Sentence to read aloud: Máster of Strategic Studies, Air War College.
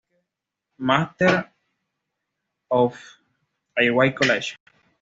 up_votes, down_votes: 1, 2